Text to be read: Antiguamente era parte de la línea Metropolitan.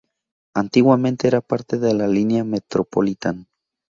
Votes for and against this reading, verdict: 2, 0, accepted